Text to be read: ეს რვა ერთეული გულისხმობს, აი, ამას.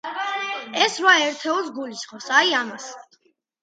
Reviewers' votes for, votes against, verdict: 2, 0, accepted